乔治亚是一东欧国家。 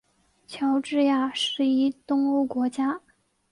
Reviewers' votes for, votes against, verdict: 2, 0, accepted